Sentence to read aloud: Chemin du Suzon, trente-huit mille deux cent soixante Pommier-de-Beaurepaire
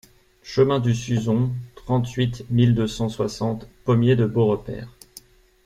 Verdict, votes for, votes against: accepted, 2, 0